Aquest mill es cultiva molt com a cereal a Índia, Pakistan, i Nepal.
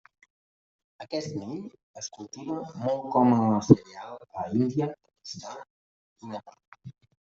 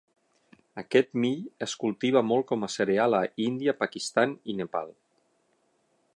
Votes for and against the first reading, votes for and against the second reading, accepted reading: 0, 2, 9, 0, second